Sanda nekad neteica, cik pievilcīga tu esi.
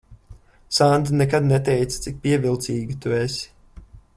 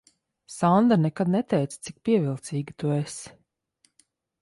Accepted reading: second